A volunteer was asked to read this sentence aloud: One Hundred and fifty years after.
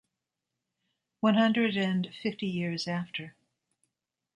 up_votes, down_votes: 2, 0